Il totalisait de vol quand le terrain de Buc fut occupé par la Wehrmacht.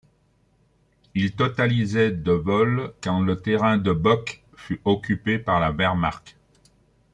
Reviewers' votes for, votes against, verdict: 2, 0, accepted